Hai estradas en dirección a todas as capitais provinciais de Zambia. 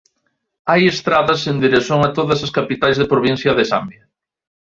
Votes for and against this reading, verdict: 1, 2, rejected